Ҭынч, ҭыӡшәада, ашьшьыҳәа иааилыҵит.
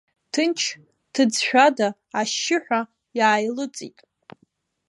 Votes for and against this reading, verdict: 3, 0, accepted